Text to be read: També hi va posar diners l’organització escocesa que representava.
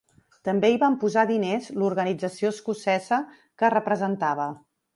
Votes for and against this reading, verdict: 0, 2, rejected